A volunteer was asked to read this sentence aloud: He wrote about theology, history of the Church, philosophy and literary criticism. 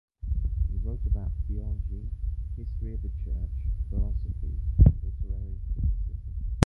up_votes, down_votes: 0, 2